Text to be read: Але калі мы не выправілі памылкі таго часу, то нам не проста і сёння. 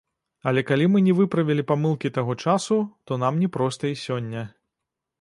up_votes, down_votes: 1, 2